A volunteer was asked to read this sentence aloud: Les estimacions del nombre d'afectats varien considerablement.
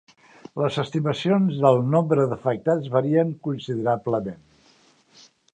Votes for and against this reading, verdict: 2, 0, accepted